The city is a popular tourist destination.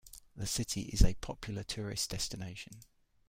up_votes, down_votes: 2, 0